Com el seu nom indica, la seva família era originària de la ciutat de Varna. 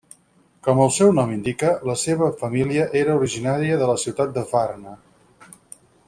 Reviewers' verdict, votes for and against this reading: rejected, 2, 4